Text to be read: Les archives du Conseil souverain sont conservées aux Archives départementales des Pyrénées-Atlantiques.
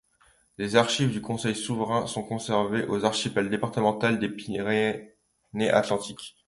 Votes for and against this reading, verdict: 0, 3, rejected